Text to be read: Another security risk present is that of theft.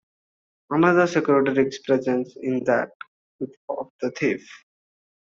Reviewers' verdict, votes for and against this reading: rejected, 0, 2